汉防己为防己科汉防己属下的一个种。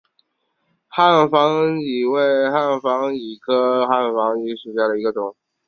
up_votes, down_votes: 2, 2